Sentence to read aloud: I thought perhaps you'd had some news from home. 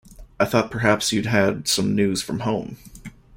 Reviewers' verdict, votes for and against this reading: accepted, 2, 0